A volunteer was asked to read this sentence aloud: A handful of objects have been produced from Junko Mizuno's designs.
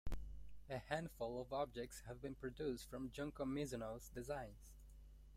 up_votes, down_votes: 2, 1